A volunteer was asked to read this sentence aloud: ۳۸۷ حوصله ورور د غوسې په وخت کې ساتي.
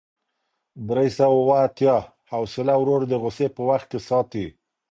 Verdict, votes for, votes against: rejected, 0, 2